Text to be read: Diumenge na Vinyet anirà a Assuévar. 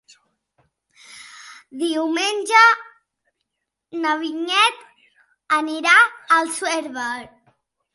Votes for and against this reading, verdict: 0, 2, rejected